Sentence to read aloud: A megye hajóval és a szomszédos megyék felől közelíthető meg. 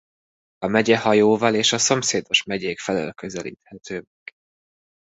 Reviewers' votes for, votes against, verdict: 1, 2, rejected